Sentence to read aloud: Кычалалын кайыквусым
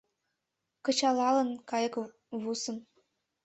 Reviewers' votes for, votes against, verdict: 0, 2, rejected